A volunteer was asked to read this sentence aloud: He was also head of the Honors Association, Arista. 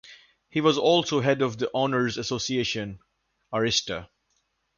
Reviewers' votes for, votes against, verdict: 2, 0, accepted